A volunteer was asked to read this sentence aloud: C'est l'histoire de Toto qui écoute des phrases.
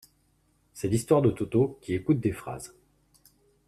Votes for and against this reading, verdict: 2, 0, accepted